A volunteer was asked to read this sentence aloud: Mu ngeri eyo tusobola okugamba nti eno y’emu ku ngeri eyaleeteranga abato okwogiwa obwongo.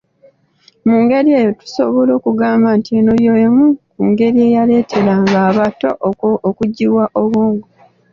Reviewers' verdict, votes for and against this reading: accepted, 2, 0